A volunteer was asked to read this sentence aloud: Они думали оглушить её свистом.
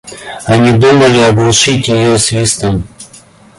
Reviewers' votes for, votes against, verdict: 2, 1, accepted